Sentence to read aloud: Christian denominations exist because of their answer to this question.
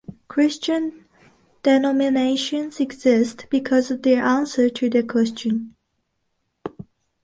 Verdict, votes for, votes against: rejected, 0, 2